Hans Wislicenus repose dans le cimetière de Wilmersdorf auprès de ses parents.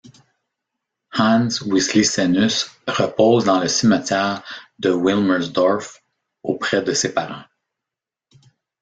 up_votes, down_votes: 1, 2